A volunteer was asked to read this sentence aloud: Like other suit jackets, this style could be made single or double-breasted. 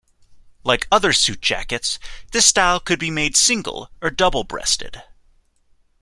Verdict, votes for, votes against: accepted, 2, 0